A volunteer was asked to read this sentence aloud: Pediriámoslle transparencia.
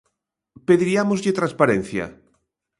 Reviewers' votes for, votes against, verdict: 2, 1, accepted